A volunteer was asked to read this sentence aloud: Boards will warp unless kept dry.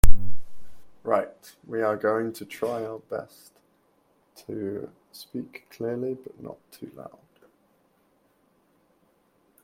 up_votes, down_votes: 0, 2